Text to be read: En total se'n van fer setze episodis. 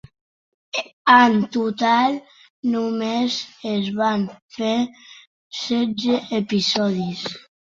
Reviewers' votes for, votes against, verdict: 0, 2, rejected